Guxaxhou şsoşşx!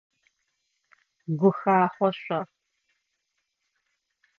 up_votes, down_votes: 0, 2